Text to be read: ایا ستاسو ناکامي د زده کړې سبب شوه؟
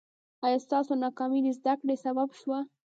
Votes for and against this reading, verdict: 2, 0, accepted